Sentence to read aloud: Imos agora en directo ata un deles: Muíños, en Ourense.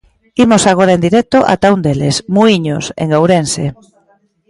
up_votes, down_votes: 2, 0